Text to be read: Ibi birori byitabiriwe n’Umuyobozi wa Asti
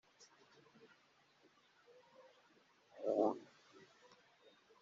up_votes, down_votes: 0, 3